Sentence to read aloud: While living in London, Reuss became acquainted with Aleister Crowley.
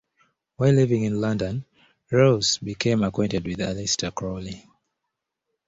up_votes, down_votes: 2, 0